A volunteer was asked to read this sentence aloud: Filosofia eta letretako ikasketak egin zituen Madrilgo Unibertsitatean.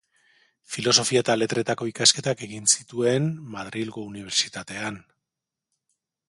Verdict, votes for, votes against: accepted, 4, 0